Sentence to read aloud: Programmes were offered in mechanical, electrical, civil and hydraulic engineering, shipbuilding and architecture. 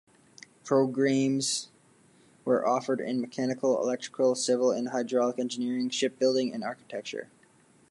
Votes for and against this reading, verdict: 0, 2, rejected